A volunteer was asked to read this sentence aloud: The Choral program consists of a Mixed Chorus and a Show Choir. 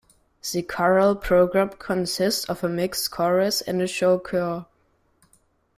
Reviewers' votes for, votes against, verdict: 1, 2, rejected